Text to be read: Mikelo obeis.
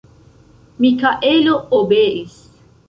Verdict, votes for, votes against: rejected, 0, 2